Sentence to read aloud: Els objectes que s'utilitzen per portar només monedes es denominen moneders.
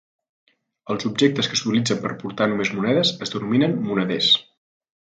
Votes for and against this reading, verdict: 2, 0, accepted